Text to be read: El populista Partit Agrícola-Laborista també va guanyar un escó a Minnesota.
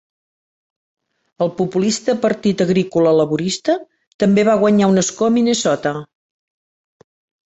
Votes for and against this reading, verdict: 3, 0, accepted